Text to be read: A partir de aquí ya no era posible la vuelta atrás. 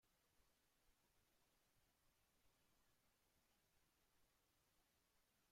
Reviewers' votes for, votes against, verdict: 0, 2, rejected